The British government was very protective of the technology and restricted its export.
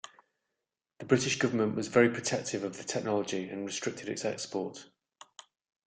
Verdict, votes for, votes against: accepted, 2, 0